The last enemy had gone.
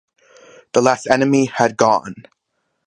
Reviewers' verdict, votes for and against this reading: accepted, 2, 0